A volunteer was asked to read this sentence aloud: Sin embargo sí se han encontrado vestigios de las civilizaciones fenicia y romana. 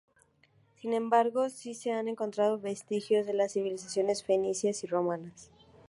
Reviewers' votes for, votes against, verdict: 2, 0, accepted